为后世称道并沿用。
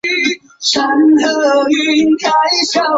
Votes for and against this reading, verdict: 1, 3, rejected